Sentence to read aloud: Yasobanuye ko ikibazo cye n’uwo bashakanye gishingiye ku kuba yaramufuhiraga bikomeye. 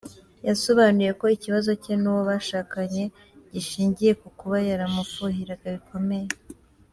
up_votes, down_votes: 4, 1